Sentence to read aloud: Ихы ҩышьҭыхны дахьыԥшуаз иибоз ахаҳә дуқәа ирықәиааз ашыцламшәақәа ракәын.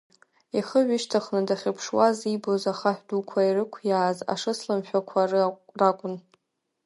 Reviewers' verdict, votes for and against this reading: rejected, 0, 3